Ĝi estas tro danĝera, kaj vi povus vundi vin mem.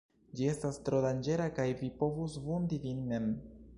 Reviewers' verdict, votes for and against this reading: accepted, 2, 0